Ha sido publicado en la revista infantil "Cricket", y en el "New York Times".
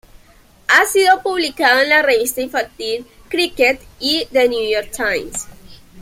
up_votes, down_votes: 0, 2